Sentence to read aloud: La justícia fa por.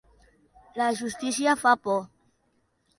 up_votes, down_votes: 2, 0